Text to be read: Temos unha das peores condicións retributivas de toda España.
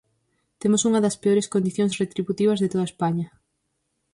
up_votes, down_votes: 4, 0